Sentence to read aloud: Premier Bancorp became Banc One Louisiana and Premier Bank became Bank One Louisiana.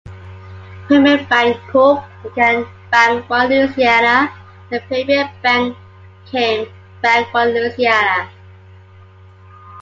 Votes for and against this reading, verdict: 2, 1, accepted